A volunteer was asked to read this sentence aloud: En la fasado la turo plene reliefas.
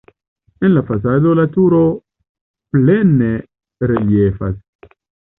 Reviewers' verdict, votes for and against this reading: accepted, 2, 0